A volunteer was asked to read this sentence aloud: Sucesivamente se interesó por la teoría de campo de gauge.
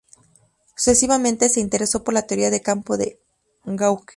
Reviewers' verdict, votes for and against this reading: rejected, 4, 4